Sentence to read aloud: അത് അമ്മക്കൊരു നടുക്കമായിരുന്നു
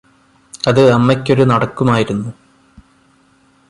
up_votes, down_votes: 1, 2